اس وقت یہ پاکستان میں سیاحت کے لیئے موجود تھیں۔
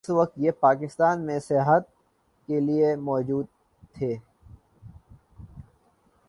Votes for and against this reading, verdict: 1, 2, rejected